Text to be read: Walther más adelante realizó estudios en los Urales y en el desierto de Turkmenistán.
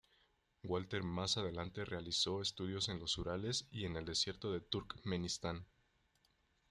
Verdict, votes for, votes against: rejected, 0, 2